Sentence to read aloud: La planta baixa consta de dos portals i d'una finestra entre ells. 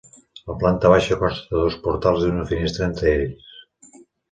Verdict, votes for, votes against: accepted, 3, 0